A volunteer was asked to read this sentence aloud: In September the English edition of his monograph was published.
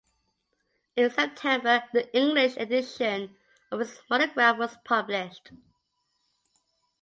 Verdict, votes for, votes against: accepted, 2, 0